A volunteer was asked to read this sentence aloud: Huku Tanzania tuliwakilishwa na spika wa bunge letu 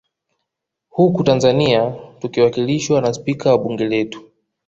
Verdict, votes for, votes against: rejected, 0, 2